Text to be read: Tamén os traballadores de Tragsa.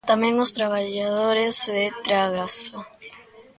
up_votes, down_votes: 0, 2